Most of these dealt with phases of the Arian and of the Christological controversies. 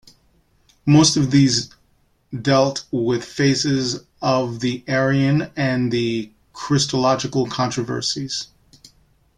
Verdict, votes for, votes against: rejected, 0, 2